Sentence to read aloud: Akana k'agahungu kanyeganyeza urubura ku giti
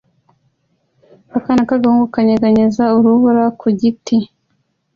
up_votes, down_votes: 2, 0